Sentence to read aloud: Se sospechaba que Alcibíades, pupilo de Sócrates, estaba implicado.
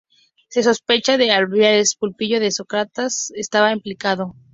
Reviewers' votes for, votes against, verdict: 0, 2, rejected